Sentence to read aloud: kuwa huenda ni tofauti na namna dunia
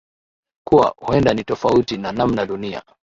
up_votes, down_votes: 3, 0